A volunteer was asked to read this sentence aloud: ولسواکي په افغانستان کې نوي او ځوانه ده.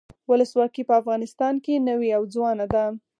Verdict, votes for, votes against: accepted, 4, 0